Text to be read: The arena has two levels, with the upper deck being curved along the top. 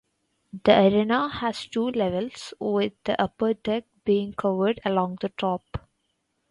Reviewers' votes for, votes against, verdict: 2, 0, accepted